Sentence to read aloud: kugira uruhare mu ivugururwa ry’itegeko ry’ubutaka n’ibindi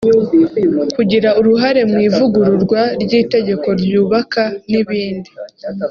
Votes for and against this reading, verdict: 1, 2, rejected